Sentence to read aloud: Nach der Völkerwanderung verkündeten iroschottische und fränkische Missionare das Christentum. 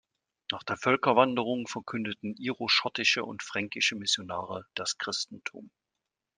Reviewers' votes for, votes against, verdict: 2, 0, accepted